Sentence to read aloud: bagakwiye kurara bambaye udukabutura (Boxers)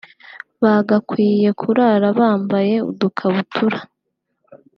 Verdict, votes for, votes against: rejected, 1, 2